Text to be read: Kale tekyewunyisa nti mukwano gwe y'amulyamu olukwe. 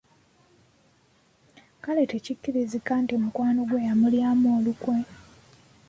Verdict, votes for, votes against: rejected, 1, 2